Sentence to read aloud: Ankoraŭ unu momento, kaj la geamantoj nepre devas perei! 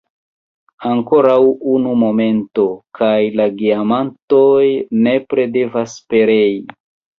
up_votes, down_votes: 0, 2